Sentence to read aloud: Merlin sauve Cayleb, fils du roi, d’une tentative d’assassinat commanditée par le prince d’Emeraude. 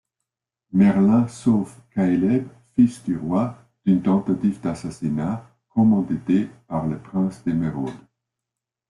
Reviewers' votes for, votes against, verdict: 2, 0, accepted